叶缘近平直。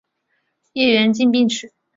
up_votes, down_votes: 3, 1